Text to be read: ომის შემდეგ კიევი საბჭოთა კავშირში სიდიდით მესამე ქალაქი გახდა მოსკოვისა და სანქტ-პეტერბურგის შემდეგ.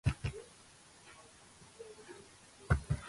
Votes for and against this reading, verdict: 0, 2, rejected